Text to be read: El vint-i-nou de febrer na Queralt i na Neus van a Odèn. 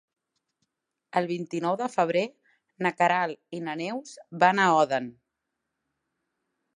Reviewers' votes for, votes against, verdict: 0, 2, rejected